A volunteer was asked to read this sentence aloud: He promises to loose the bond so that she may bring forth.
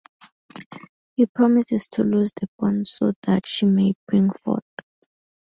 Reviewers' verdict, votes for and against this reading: accepted, 4, 0